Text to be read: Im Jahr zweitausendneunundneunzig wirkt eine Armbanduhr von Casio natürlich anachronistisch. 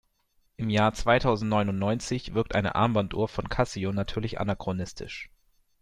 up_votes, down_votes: 2, 0